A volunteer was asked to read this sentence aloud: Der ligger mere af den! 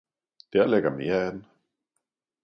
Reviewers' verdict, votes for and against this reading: accepted, 2, 0